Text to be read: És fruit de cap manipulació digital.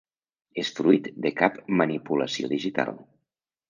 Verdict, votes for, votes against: accepted, 3, 0